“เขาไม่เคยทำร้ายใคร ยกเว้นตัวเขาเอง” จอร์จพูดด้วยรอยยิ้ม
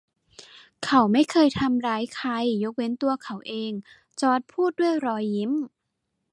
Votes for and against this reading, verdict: 2, 0, accepted